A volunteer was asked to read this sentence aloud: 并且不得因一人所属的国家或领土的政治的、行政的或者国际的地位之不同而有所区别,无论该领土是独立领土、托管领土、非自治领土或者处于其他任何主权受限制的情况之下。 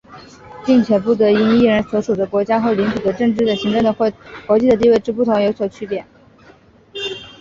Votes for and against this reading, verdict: 0, 2, rejected